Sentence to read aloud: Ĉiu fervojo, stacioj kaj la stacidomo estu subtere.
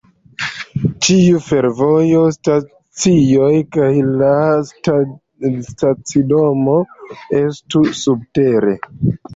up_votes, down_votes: 1, 2